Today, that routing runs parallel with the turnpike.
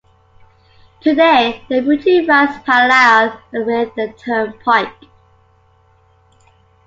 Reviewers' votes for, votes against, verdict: 0, 2, rejected